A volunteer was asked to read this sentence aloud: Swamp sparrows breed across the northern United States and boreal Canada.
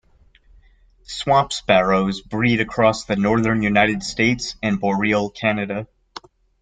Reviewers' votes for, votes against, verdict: 0, 2, rejected